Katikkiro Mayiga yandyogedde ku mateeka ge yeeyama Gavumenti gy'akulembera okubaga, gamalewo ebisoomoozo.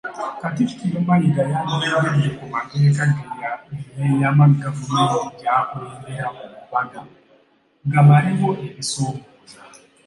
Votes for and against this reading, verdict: 0, 3, rejected